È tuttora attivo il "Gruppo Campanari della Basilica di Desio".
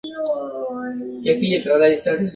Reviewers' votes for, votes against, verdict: 0, 2, rejected